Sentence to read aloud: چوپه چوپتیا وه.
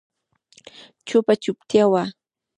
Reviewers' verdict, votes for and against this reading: rejected, 1, 2